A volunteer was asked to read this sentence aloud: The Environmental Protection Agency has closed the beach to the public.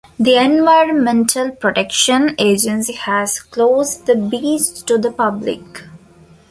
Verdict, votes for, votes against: accepted, 2, 1